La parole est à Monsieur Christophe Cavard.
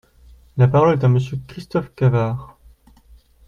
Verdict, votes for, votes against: accepted, 2, 0